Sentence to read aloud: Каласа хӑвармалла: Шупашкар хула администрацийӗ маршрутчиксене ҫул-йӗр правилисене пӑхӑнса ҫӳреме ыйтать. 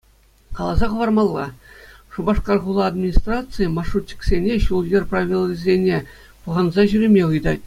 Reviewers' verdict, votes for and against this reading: accepted, 2, 0